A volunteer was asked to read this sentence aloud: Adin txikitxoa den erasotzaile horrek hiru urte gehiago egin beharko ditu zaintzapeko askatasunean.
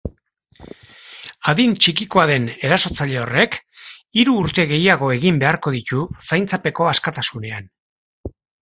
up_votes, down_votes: 0, 2